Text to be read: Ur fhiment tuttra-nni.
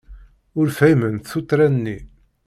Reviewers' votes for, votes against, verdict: 0, 2, rejected